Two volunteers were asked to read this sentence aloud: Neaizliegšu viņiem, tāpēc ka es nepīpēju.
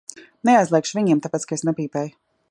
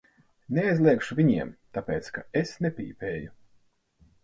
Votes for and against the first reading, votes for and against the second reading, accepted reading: 2, 0, 2, 4, first